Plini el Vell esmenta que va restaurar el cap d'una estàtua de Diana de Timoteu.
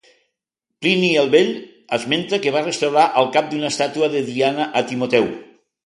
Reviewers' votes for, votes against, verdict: 0, 2, rejected